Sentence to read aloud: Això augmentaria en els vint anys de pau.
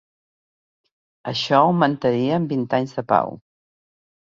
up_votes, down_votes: 0, 3